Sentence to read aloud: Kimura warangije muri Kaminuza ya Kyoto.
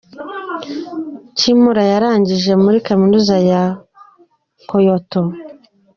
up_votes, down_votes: 1, 2